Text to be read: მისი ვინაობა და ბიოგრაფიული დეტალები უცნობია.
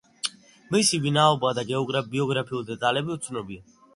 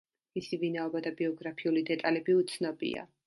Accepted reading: second